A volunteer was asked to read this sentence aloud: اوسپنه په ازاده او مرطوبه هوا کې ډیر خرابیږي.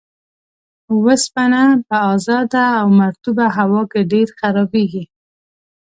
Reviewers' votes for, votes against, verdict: 2, 0, accepted